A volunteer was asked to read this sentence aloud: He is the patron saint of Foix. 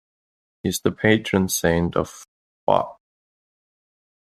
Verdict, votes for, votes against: rejected, 1, 2